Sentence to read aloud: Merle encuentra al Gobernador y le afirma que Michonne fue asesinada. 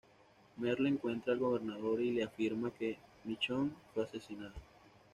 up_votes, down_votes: 2, 0